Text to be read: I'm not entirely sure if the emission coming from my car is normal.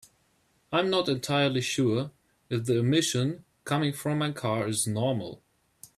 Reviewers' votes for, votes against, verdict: 2, 0, accepted